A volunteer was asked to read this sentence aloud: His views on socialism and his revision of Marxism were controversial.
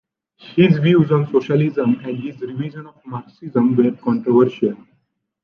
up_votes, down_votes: 1, 2